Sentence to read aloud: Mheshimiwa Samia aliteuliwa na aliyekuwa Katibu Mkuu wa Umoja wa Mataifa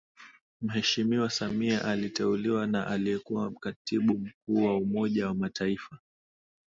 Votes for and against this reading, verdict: 2, 0, accepted